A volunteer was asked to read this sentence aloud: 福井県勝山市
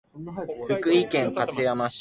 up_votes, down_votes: 2, 0